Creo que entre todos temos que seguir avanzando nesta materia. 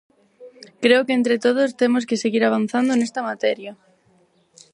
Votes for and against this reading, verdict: 4, 0, accepted